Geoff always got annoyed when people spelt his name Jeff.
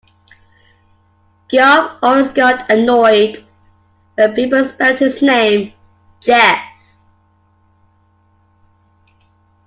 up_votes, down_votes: 2, 0